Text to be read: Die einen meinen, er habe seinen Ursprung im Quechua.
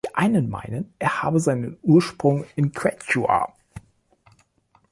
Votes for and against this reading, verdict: 2, 0, accepted